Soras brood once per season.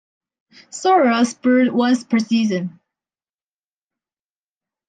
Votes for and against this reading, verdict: 2, 1, accepted